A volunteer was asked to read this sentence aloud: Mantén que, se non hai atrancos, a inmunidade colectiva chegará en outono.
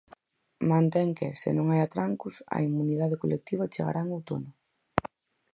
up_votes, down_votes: 4, 0